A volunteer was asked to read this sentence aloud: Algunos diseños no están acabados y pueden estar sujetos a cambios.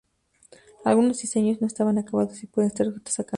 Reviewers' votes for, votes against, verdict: 0, 2, rejected